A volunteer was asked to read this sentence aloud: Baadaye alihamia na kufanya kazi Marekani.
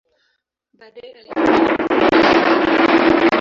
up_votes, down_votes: 0, 2